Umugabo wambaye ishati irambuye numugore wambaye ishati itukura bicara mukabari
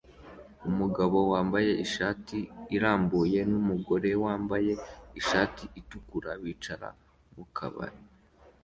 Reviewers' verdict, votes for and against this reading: accepted, 2, 0